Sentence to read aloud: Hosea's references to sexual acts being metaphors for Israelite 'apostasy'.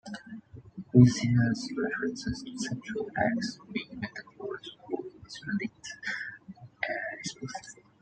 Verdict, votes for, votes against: rejected, 0, 2